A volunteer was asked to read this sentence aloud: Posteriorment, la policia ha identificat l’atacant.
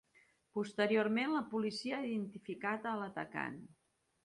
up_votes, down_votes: 2, 1